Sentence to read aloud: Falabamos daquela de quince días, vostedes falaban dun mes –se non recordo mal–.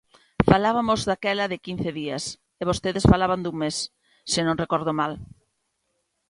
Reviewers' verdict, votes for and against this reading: rejected, 1, 2